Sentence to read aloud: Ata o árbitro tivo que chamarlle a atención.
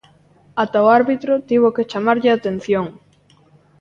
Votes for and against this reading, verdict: 2, 0, accepted